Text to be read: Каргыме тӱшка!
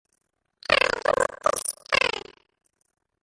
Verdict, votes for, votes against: rejected, 0, 2